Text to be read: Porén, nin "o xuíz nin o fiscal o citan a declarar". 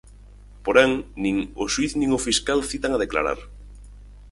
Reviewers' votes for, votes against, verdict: 2, 4, rejected